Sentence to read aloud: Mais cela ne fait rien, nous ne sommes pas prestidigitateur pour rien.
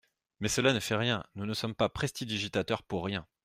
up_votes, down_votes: 2, 0